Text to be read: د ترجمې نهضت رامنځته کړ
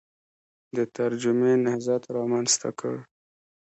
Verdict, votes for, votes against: rejected, 1, 2